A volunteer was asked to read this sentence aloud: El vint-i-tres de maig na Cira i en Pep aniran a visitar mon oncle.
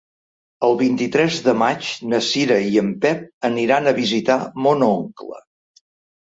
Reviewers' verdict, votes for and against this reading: accepted, 4, 0